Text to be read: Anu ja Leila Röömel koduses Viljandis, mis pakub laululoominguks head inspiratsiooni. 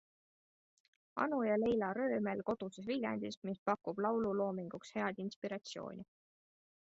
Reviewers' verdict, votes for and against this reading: accepted, 2, 0